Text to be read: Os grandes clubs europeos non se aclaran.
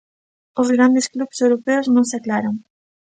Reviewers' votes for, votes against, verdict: 2, 0, accepted